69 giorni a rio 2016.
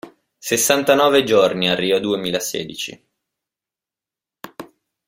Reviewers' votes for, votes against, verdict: 0, 2, rejected